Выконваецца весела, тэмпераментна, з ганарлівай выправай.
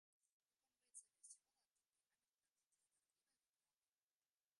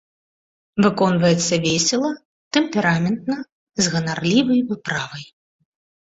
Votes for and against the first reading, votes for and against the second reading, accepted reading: 0, 2, 2, 0, second